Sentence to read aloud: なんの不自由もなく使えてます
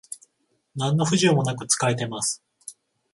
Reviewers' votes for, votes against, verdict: 14, 0, accepted